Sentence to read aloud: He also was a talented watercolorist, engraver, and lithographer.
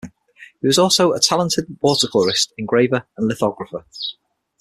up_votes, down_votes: 3, 6